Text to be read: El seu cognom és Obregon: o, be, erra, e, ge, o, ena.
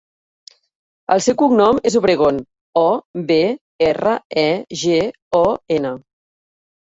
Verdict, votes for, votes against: accepted, 2, 0